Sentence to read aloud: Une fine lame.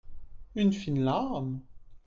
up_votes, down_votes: 2, 1